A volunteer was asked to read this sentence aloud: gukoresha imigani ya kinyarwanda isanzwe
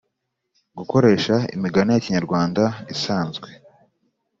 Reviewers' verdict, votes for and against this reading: accepted, 3, 0